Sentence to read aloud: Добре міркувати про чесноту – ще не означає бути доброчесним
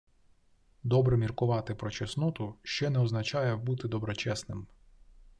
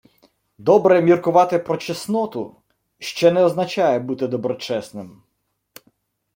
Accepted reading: first